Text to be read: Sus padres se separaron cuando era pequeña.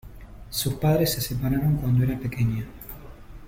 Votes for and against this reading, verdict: 2, 0, accepted